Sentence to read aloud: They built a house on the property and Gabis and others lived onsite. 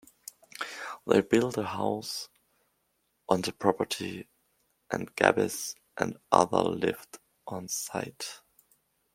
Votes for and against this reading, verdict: 1, 2, rejected